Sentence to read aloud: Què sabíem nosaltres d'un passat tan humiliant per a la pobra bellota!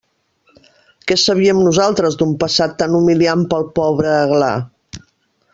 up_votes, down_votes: 0, 2